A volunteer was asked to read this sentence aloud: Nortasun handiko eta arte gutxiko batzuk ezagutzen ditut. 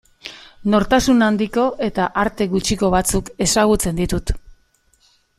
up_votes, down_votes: 2, 0